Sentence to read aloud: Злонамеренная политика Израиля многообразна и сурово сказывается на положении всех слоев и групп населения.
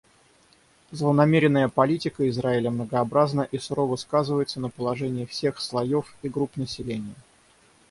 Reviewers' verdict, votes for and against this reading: accepted, 6, 0